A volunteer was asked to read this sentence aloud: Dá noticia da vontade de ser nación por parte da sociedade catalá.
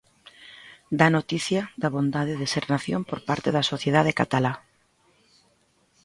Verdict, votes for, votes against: rejected, 1, 2